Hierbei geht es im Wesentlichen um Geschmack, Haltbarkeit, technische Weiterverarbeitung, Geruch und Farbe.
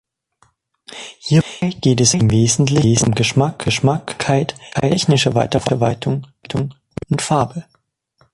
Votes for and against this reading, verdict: 0, 2, rejected